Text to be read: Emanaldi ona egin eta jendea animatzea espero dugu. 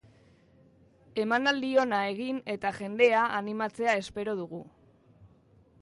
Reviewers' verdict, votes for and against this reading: accepted, 6, 0